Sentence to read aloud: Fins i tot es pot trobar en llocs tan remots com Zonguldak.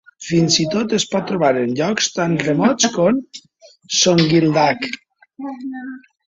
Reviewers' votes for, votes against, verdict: 1, 2, rejected